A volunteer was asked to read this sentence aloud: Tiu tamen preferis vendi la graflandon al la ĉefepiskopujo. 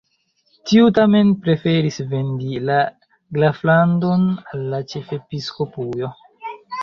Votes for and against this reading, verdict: 1, 2, rejected